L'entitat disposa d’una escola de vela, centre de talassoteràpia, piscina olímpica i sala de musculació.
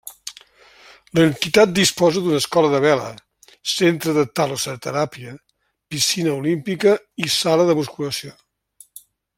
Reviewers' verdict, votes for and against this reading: rejected, 1, 2